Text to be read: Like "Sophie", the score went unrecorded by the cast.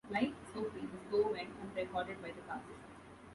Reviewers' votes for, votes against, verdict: 0, 2, rejected